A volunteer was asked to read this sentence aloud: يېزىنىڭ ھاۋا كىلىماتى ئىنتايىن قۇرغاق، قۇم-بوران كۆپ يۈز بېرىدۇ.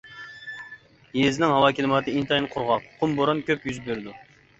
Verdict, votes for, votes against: accepted, 2, 0